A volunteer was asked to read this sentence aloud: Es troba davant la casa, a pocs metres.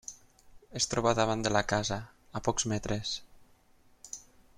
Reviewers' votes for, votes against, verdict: 0, 6, rejected